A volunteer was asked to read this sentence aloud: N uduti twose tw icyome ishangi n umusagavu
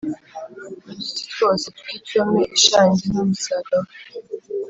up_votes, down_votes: 4, 0